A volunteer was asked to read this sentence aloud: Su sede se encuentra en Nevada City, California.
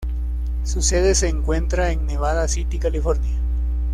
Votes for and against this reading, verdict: 2, 0, accepted